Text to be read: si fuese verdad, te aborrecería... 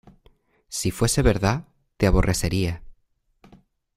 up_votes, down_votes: 2, 1